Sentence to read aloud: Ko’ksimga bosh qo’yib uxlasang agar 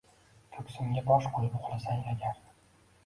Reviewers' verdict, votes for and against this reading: rejected, 0, 2